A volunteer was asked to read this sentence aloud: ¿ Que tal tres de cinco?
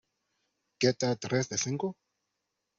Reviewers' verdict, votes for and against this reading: accepted, 2, 0